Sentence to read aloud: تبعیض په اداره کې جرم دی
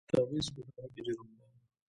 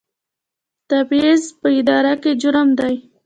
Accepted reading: second